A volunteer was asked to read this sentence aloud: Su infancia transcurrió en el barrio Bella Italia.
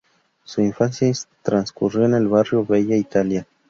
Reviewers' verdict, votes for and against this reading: accepted, 2, 0